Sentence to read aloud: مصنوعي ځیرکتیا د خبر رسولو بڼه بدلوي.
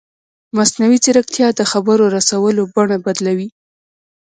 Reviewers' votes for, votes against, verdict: 1, 2, rejected